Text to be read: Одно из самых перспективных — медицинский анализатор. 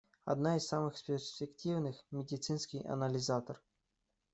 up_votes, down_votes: 0, 2